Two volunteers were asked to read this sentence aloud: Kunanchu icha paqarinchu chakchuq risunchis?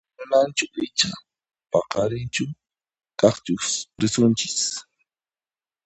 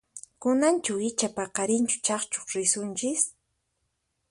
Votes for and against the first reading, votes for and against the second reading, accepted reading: 0, 2, 4, 0, second